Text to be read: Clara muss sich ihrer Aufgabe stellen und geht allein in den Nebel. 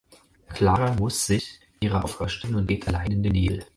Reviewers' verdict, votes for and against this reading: rejected, 4, 6